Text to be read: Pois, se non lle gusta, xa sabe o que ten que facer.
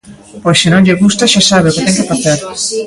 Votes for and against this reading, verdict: 0, 2, rejected